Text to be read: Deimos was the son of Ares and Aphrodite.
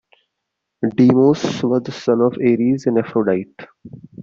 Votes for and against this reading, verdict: 2, 0, accepted